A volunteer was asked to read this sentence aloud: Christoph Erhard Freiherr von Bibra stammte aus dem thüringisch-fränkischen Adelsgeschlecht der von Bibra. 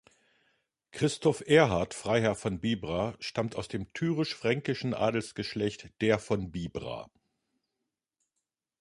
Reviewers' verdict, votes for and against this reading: rejected, 0, 2